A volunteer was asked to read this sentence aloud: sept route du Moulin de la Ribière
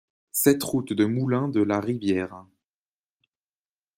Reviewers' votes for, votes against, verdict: 0, 2, rejected